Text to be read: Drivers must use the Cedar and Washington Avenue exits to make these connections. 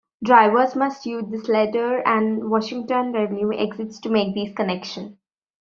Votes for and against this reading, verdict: 1, 2, rejected